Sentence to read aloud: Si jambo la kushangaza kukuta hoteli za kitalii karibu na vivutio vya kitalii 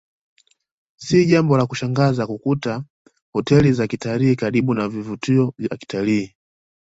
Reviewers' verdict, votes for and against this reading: accepted, 2, 0